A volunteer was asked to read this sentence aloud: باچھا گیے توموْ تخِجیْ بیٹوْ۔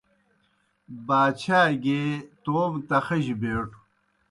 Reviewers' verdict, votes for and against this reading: accepted, 2, 0